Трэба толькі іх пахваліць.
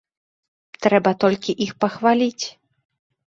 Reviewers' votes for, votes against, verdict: 2, 0, accepted